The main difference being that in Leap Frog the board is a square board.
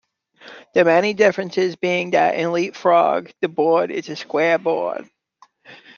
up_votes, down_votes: 0, 2